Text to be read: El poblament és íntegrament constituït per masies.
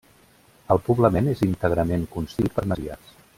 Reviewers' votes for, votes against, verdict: 0, 2, rejected